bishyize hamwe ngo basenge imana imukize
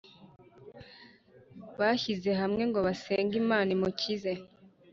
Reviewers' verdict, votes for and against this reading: rejected, 0, 2